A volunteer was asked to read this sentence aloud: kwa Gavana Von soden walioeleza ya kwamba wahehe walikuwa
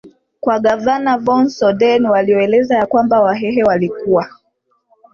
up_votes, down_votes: 1, 2